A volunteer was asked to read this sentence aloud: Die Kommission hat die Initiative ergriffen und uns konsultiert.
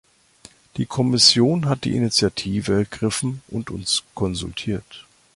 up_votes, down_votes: 2, 0